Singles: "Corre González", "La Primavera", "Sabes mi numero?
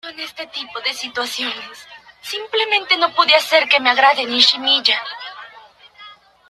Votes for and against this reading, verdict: 0, 2, rejected